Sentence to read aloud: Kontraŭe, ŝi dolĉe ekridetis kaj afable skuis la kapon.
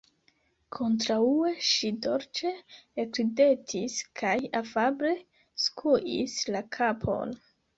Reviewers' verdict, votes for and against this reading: accepted, 2, 1